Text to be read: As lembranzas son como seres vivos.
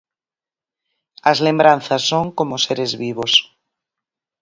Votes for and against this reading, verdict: 4, 0, accepted